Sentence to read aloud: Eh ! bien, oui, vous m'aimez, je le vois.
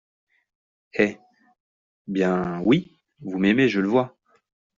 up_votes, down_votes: 2, 0